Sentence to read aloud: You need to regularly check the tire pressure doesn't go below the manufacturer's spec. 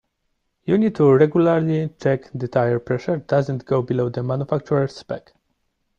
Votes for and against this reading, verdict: 2, 0, accepted